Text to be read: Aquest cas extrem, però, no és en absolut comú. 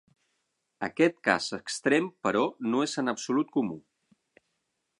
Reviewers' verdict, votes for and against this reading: accepted, 9, 0